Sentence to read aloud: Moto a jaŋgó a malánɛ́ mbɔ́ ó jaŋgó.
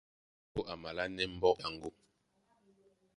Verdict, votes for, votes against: rejected, 0, 2